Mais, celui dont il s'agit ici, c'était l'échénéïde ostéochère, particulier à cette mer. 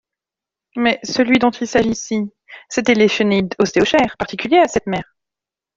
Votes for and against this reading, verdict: 1, 2, rejected